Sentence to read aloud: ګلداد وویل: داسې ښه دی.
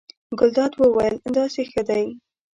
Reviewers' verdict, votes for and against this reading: accepted, 2, 0